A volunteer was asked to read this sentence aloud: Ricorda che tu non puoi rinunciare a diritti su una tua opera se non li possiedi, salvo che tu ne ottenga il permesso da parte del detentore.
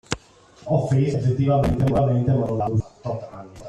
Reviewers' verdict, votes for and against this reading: rejected, 0, 2